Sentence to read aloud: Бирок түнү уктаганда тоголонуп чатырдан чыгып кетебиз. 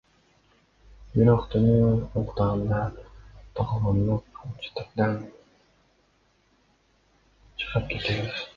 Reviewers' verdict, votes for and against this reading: rejected, 0, 2